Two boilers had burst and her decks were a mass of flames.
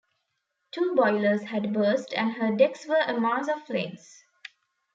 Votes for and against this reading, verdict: 1, 2, rejected